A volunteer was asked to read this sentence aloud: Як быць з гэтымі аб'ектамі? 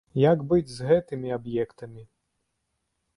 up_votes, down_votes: 2, 0